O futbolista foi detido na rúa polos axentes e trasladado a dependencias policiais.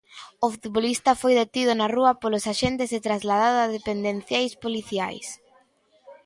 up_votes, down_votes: 0, 3